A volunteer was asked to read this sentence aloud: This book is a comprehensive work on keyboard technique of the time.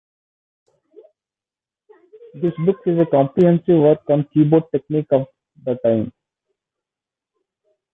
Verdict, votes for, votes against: accepted, 2, 0